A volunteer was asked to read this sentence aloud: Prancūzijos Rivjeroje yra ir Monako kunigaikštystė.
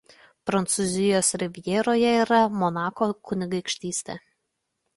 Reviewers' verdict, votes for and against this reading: rejected, 0, 2